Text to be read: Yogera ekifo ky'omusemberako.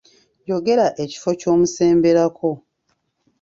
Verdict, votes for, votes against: accepted, 2, 0